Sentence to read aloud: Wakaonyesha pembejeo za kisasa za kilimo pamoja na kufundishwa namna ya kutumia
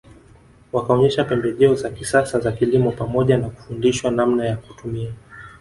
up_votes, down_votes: 0, 2